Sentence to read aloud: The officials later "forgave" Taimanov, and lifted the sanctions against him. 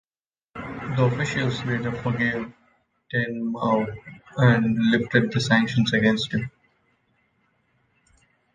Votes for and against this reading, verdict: 0, 2, rejected